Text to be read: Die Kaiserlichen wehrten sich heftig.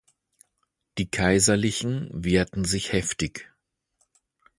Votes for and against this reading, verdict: 2, 0, accepted